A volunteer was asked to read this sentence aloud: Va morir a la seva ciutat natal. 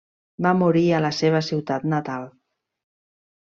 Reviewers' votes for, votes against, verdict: 3, 0, accepted